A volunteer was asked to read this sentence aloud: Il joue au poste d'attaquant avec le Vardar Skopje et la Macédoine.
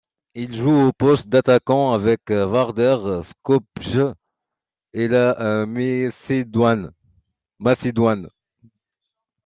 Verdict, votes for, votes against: rejected, 1, 2